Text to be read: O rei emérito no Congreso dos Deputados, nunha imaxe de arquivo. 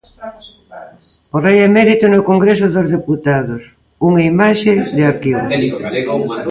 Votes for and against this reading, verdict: 0, 3, rejected